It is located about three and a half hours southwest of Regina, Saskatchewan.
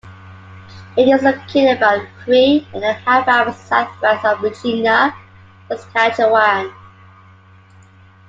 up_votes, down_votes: 2, 1